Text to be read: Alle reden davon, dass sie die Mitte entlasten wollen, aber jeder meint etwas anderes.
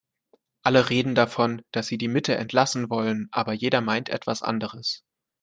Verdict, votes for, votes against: rejected, 0, 2